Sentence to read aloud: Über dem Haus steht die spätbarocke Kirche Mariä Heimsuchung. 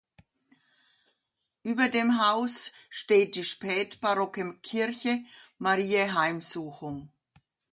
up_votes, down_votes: 2, 0